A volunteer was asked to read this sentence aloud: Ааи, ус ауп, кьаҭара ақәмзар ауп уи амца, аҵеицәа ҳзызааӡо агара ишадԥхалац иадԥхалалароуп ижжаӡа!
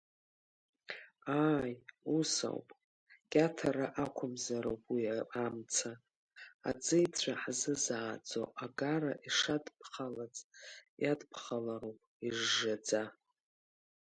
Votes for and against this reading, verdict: 0, 2, rejected